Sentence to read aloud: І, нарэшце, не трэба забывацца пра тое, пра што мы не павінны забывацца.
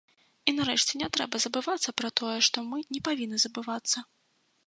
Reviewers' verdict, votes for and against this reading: rejected, 0, 2